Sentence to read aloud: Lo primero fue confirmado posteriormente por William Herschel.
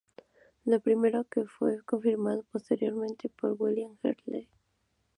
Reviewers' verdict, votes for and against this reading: rejected, 0, 2